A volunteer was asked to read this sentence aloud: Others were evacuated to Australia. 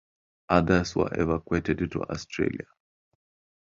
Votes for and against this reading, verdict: 5, 3, accepted